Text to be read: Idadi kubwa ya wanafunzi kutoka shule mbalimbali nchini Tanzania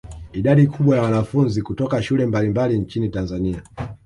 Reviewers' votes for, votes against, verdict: 0, 2, rejected